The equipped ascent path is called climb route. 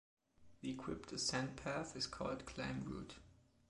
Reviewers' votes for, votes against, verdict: 2, 1, accepted